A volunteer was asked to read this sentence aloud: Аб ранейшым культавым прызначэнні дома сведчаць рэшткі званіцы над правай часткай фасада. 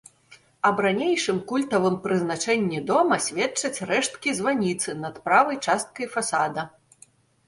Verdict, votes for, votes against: accepted, 2, 0